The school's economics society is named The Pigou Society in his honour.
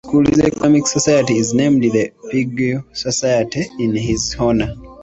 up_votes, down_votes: 0, 2